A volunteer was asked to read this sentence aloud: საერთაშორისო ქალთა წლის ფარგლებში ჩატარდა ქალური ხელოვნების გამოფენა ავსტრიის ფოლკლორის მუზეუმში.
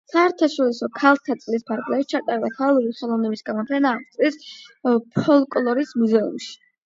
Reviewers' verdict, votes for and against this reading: accepted, 8, 0